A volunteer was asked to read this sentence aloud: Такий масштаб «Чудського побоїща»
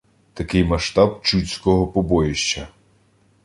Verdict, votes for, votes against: accepted, 2, 0